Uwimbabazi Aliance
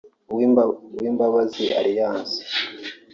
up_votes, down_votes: 1, 2